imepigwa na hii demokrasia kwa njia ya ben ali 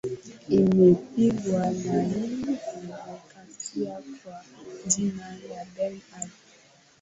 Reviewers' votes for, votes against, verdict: 2, 5, rejected